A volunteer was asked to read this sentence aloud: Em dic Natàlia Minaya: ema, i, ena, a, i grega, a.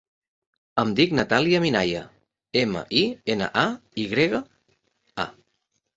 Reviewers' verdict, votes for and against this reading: accepted, 3, 0